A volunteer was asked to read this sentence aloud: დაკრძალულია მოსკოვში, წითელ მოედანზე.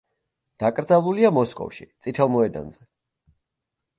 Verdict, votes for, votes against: accepted, 2, 0